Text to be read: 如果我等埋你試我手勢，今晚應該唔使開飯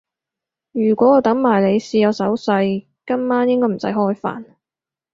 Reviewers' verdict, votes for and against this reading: accepted, 4, 0